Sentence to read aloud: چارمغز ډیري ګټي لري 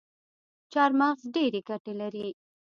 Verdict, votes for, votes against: accepted, 2, 0